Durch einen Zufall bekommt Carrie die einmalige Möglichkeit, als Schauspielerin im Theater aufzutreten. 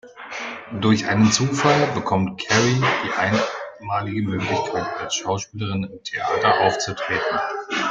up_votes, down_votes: 1, 2